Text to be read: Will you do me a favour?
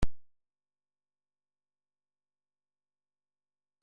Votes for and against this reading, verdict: 0, 2, rejected